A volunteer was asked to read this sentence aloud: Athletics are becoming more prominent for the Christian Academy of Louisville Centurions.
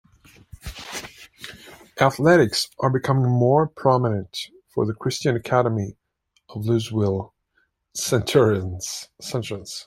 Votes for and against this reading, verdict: 0, 2, rejected